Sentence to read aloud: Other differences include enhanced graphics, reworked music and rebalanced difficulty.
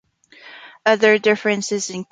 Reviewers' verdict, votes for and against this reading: rejected, 0, 2